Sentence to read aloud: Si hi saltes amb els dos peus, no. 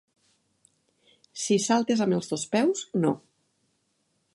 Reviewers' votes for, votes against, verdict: 1, 2, rejected